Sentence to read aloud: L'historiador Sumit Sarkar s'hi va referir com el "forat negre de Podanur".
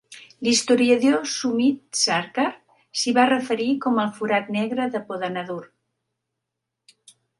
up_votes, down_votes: 0, 3